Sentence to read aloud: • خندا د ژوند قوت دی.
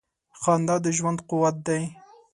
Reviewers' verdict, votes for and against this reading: accepted, 3, 0